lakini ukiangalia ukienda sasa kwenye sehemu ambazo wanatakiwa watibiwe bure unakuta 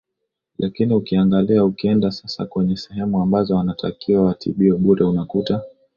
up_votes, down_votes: 2, 0